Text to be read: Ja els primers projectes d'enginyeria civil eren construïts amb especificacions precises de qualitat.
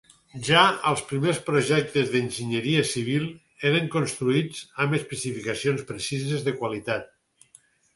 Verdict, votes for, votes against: accepted, 4, 0